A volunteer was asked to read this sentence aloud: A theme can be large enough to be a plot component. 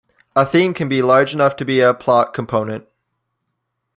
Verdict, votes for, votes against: accepted, 2, 0